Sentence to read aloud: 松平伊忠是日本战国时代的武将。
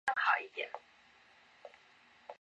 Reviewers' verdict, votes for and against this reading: rejected, 0, 3